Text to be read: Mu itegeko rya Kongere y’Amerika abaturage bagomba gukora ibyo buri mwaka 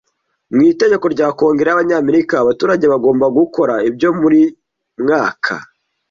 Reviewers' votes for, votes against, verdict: 0, 2, rejected